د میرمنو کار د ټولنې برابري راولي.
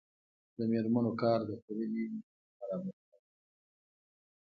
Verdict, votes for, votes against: accepted, 2, 1